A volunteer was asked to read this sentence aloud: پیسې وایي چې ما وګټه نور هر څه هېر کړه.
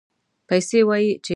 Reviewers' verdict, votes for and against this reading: rejected, 0, 2